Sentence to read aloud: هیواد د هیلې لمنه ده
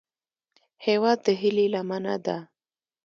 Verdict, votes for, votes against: rejected, 0, 2